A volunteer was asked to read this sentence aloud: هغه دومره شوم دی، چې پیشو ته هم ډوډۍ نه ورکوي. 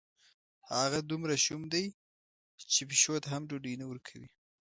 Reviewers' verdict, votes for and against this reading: accepted, 2, 0